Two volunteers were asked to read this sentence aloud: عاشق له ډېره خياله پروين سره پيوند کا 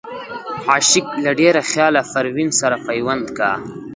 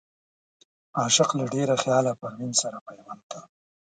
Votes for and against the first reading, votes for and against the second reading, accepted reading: 0, 2, 2, 0, second